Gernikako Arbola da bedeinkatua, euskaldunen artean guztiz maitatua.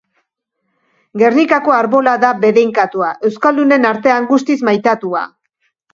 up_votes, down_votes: 1, 2